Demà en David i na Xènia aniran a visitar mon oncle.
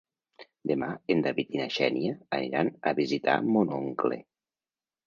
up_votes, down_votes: 2, 1